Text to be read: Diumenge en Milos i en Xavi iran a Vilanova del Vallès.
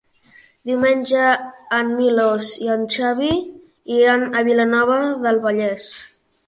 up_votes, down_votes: 4, 0